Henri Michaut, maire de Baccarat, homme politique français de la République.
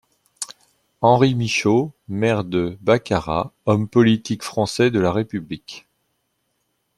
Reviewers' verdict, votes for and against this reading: accepted, 2, 0